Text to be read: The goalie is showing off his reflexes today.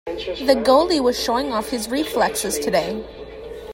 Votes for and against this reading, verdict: 0, 2, rejected